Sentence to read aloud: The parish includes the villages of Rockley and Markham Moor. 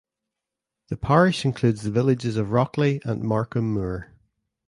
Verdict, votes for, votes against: accepted, 3, 1